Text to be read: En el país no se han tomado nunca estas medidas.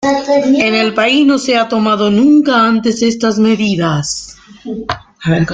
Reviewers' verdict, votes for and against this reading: rejected, 0, 2